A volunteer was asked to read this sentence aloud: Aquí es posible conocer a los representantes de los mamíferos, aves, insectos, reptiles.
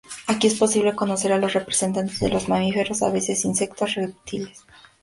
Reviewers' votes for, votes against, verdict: 2, 0, accepted